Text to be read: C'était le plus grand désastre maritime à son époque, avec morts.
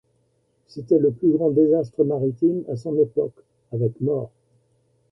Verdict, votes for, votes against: rejected, 1, 2